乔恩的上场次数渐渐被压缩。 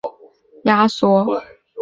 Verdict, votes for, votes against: rejected, 0, 2